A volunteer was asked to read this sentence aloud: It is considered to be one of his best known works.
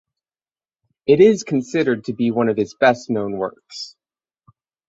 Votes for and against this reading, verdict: 9, 0, accepted